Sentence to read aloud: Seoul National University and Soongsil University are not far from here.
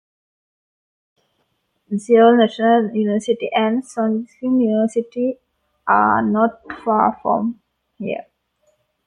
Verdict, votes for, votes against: accepted, 2, 0